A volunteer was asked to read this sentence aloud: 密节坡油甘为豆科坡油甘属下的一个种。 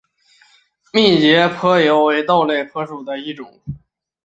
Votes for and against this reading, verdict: 3, 2, accepted